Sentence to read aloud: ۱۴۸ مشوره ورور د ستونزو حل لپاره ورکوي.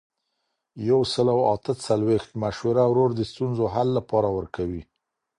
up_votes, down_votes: 0, 2